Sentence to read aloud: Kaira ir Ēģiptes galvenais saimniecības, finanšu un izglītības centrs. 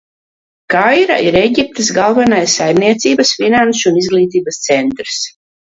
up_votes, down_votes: 2, 0